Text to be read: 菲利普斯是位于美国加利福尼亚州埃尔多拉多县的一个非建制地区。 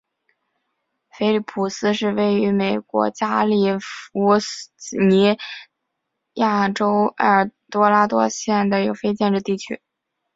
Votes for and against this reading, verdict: 4, 0, accepted